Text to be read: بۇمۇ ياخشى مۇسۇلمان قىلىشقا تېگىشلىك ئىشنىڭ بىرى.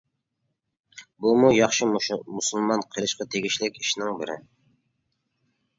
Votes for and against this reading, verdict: 1, 2, rejected